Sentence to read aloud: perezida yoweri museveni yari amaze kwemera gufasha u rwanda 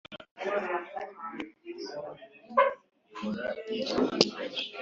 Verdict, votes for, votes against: rejected, 2, 3